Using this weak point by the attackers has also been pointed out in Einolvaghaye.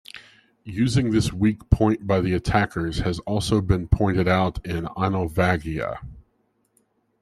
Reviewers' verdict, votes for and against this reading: accepted, 2, 1